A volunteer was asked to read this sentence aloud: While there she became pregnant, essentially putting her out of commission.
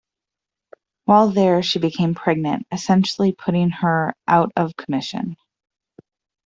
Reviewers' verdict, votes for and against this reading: accepted, 2, 0